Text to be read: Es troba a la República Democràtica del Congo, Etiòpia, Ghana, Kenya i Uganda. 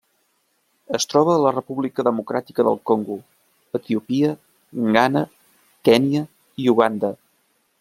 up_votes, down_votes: 0, 2